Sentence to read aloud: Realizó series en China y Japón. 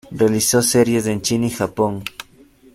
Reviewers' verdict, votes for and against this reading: accepted, 2, 0